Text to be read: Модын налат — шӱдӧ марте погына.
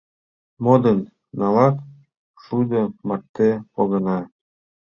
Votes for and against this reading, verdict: 1, 2, rejected